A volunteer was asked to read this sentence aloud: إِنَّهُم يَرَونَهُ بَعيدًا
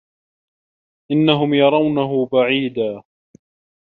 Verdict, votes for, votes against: accepted, 2, 0